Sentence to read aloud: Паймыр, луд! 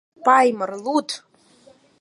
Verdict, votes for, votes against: accepted, 4, 0